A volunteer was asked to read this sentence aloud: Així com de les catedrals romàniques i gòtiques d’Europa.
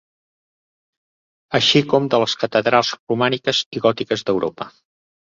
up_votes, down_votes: 3, 0